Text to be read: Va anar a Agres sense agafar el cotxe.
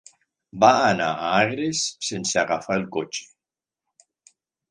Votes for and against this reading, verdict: 3, 0, accepted